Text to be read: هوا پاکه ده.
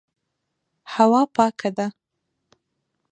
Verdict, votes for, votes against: accepted, 2, 1